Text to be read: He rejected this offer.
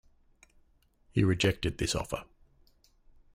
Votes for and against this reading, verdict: 2, 0, accepted